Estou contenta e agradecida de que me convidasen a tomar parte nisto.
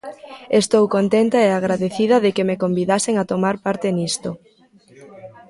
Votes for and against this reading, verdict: 0, 2, rejected